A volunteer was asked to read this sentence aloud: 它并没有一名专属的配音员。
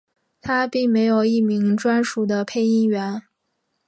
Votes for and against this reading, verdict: 5, 1, accepted